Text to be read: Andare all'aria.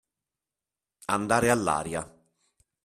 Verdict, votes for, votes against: accepted, 2, 0